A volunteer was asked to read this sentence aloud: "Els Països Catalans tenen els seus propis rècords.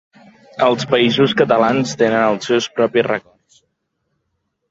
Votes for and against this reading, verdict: 0, 2, rejected